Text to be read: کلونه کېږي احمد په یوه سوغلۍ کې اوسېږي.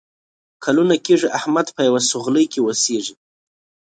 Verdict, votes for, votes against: accepted, 5, 0